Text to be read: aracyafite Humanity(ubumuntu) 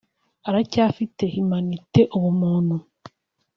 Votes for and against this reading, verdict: 1, 2, rejected